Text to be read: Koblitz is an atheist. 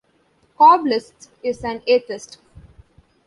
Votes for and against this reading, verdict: 1, 2, rejected